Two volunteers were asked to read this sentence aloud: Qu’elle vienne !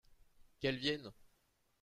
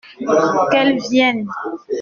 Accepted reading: first